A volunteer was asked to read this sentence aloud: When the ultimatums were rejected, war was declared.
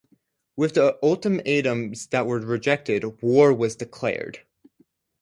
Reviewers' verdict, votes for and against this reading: rejected, 0, 4